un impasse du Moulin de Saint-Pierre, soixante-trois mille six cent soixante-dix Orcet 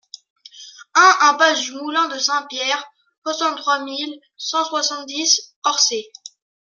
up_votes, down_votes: 0, 2